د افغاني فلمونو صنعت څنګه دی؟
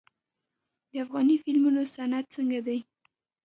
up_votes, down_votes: 2, 0